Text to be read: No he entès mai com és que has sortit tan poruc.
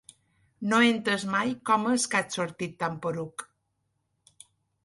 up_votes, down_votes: 2, 1